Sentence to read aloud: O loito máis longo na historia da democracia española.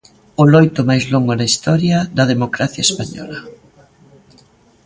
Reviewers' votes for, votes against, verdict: 2, 0, accepted